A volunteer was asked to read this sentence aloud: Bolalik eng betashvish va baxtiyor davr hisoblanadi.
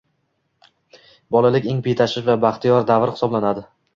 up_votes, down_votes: 2, 0